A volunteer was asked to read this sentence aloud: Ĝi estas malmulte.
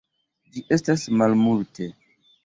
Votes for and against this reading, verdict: 2, 1, accepted